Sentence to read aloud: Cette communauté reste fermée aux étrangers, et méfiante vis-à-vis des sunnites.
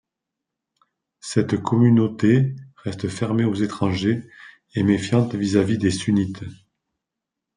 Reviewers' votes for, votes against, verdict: 2, 0, accepted